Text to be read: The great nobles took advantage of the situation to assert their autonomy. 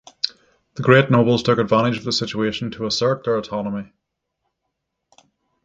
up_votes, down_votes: 6, 0